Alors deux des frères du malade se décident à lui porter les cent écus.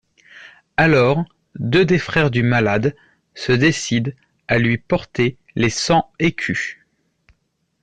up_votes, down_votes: 2, 0